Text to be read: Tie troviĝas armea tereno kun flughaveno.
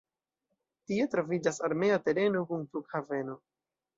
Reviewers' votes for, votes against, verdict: 0, 2, rejected